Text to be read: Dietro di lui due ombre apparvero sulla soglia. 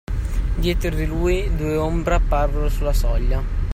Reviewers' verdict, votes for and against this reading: accepted, 2, 0